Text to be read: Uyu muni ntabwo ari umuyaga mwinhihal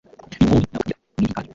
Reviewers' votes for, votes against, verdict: 2, 3, rejected